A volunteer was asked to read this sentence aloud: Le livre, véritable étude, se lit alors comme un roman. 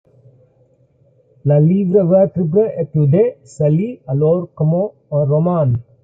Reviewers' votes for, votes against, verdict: 1, 2, rejected